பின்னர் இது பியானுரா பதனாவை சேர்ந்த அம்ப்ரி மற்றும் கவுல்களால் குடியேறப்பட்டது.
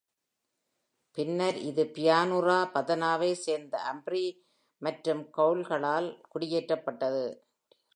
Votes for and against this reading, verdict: 2, 0, accepted